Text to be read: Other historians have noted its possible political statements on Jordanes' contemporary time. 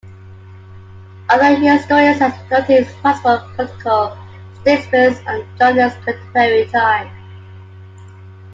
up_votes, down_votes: 0, 2